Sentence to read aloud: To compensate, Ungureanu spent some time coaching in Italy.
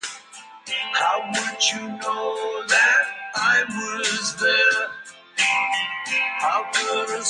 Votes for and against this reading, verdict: 0, 2, rejected